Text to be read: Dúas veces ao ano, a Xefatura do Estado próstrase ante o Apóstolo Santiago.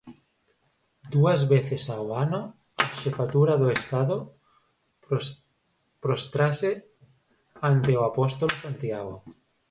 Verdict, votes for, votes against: rejected, 0, 4